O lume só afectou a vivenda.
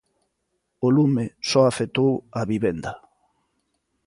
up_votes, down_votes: 2, 0